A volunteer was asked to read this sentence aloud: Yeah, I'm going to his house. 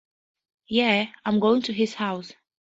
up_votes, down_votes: 4, 0